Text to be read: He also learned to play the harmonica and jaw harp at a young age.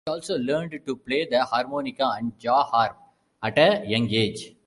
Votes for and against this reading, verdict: 2, 1, accepted